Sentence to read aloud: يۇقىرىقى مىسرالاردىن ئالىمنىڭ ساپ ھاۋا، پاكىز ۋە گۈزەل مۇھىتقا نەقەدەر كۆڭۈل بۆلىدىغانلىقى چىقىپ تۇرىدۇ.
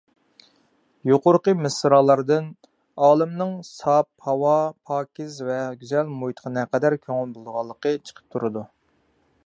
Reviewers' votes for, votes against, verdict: 2, 0, accepted